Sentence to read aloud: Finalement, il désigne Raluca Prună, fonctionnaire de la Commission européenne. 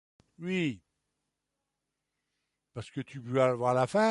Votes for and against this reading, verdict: 0, 3, rejected